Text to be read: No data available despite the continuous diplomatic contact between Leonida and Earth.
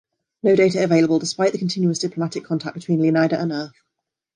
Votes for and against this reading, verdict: 2, 1, accepted